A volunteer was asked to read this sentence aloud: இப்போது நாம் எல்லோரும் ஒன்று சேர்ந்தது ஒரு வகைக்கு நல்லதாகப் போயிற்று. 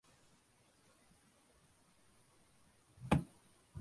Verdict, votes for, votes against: rejected, 0, 2